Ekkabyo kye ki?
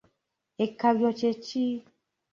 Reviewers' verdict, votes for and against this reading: accepted, 2, 1